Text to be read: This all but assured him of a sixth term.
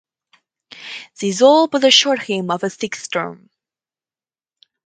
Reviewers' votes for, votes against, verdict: 4, 0, accepted